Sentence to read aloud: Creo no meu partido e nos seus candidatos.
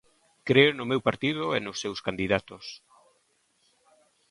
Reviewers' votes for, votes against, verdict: 2, 0, accepted